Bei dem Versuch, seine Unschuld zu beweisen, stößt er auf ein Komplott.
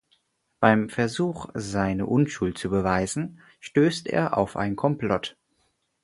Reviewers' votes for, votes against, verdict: 0, 4, rejected